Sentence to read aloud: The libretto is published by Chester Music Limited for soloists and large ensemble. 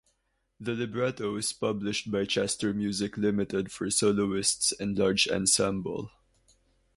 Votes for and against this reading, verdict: 2, 2, rejected